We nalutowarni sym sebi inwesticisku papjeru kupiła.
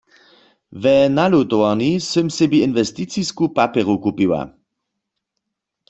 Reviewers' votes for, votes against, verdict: 2, 0, accepted